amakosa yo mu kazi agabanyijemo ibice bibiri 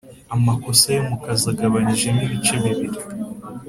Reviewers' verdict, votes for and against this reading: accepted, 3, 0